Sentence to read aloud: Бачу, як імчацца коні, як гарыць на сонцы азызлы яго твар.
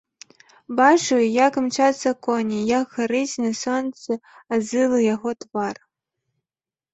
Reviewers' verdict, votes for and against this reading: rejected, 0, 2